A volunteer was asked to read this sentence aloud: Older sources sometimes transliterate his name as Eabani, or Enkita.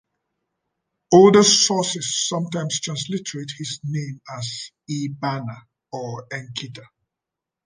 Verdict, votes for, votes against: accepted, 2, 1